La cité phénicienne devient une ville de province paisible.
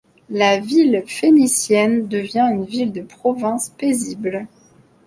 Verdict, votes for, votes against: rejected, 1, 2